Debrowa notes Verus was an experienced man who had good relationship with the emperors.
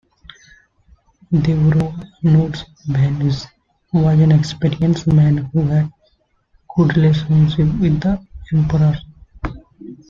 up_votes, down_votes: 1, 2